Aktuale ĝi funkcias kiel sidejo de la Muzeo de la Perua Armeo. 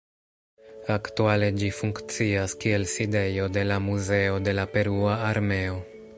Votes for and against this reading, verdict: 1, 2, rejected